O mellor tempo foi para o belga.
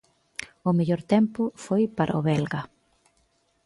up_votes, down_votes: 2, 0